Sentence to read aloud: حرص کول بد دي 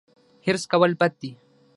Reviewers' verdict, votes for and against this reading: rejected, 3, 6